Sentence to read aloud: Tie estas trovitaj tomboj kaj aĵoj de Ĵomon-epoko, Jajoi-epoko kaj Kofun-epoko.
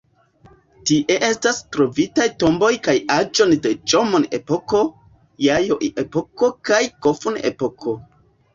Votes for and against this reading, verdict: 0, 2, rejected